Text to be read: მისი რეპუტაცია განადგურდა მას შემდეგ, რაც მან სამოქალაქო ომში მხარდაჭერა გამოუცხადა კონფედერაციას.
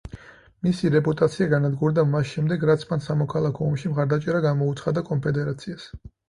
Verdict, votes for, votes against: accepted, 4, 0